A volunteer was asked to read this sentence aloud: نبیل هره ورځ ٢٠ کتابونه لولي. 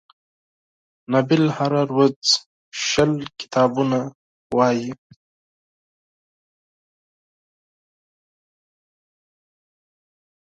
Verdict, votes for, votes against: rejected, 0, 2